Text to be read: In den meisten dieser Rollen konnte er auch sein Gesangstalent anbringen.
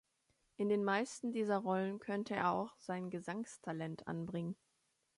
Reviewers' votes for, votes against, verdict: 1, 2, rejected